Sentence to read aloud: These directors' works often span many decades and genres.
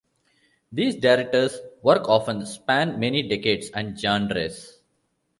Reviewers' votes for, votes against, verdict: 0, 2, rejected